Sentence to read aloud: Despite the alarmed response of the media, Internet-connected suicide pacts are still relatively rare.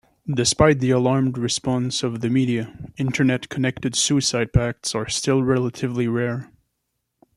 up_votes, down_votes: 2, 0